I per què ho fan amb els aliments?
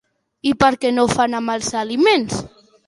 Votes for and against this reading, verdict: 1, 3, rejected